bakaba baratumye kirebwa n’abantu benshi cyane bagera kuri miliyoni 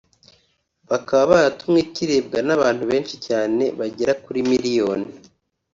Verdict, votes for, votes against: accepted, 3, 0